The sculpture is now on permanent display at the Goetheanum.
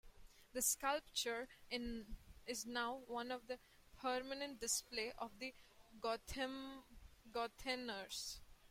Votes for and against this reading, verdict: 0, 2, rejected